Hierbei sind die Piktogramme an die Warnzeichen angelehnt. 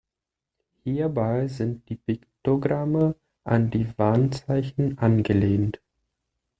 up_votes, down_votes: 2, 0